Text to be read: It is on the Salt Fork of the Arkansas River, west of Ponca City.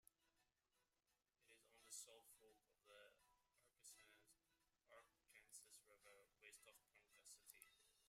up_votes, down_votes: 0, 2